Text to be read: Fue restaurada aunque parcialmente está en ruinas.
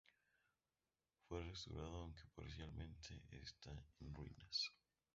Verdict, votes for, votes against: rejected, 0, 2